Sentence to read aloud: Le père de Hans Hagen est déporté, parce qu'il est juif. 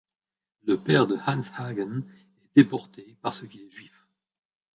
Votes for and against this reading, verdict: 1, 2, rejected